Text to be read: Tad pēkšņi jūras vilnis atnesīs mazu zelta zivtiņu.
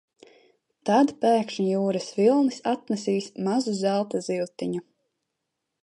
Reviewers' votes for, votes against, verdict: 2, 0, accepted